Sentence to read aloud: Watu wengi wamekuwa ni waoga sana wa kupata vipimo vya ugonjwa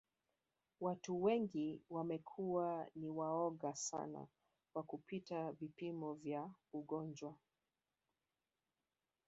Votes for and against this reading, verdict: 2, 3, rejected